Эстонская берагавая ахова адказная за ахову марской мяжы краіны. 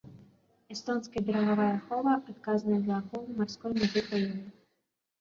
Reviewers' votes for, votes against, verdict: 2, 3, rejected